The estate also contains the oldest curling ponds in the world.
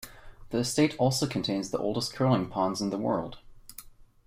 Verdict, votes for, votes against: accepted, 2, 0